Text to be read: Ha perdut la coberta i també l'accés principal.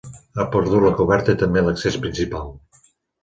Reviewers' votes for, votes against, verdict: 2, 0, accepted